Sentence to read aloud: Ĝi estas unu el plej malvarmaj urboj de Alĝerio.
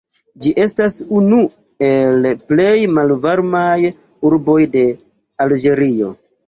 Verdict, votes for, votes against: rejected, 1, 3